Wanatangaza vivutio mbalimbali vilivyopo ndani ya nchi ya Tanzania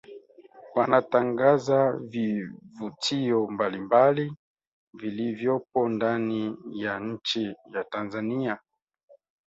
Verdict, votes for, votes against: accepted, 2, 1